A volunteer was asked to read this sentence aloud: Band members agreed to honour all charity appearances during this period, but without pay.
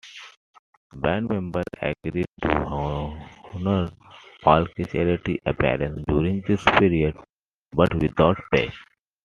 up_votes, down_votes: 2, 1